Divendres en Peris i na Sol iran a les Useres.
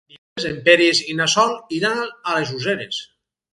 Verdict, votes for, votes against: rejected, 2, 4